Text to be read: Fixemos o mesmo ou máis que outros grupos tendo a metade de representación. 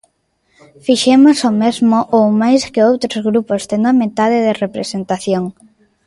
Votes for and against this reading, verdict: 0, 2, rejected